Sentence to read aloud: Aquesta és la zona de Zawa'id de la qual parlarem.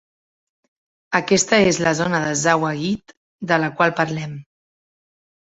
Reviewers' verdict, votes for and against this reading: accepted, 2, 0